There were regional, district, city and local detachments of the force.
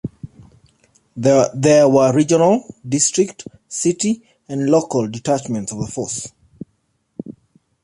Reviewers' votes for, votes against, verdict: 1, 2, rejected